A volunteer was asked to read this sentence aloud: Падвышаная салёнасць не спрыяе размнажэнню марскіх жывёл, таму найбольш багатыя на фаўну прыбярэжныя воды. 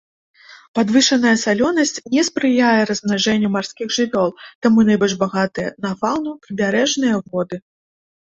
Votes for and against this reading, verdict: 2, 0, accepted